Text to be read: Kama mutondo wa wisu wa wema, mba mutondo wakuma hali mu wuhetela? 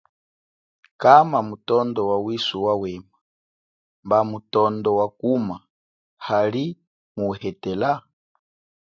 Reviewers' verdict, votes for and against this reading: accepted, 2, 0